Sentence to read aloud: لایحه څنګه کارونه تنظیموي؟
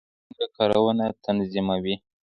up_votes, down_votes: 0, 2